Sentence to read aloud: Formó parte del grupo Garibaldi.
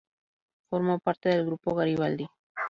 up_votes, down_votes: 2, 0